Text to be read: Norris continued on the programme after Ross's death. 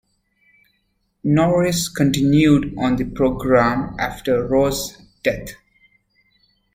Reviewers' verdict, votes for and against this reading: rejected, 0, 2